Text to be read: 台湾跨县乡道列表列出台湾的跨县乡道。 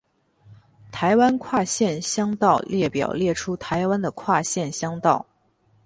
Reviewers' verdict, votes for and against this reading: accepted, 18, 0